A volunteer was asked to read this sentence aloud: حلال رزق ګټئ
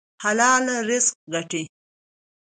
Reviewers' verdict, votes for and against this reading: accepted, 2, 0